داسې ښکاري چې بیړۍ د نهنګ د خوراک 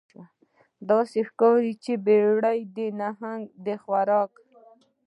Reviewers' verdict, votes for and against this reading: rejected, 1, 2